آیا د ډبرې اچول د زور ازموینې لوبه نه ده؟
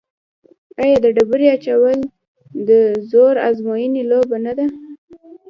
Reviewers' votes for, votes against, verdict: 2, 1, accepted